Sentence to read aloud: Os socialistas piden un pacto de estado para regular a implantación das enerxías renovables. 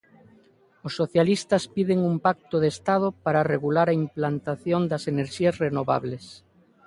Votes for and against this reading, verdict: 3, 0, accepted